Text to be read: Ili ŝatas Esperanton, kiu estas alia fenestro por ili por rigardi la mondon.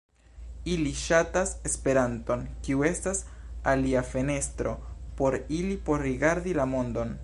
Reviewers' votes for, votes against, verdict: 2, 0, accepted